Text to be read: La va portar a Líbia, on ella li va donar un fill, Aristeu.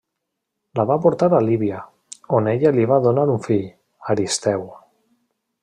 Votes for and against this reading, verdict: 3, 0, accepted